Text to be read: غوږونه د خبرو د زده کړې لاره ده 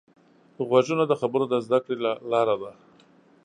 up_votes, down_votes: 3, 0